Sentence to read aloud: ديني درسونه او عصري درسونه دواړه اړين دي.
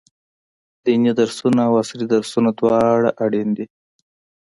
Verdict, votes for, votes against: accepted, 2, 0